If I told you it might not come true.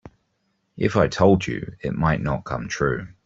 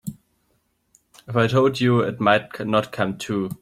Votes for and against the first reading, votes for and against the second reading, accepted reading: 3, 0, 0, 2, first